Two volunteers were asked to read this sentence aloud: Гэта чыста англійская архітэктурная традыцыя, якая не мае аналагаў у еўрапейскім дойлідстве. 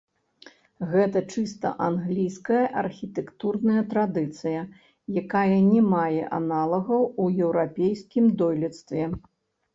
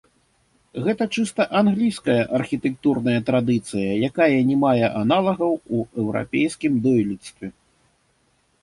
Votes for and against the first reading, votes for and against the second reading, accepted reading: 0, 3, 2, 0, second